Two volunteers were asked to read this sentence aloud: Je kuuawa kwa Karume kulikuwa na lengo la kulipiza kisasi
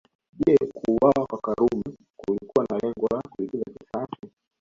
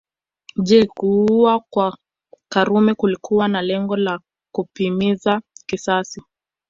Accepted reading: first